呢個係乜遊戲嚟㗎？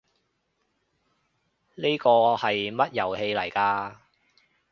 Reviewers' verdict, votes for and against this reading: accepted, 2, 0